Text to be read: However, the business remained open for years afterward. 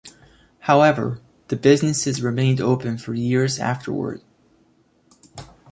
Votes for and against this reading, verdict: 2, 1, accepted